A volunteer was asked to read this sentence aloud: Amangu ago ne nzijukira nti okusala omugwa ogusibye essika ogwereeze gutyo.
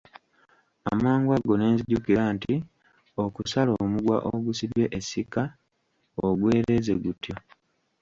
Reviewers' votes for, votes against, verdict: 1, 2, rejected